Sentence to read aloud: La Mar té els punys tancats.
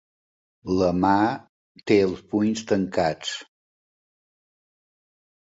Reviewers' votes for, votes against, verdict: 2, 3, rejected